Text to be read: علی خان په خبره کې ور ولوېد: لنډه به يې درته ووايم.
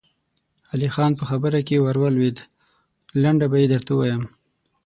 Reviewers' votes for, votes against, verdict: 6, 0, accepted